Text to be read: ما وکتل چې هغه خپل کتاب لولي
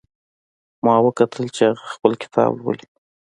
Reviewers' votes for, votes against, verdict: 2, 0, accepted